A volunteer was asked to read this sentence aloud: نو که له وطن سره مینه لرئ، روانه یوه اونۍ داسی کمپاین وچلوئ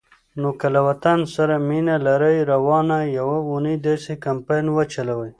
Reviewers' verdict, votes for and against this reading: accepted, 2, 0